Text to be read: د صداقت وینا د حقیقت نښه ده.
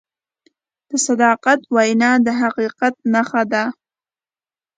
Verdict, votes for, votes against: accepted, 2, 0